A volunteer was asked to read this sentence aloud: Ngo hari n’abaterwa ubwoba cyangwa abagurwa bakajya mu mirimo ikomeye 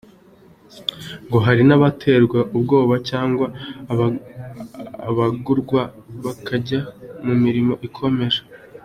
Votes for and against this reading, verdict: 1, 2, rejected